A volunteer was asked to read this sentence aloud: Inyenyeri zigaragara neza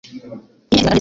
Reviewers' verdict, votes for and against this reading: rejected, 1, 2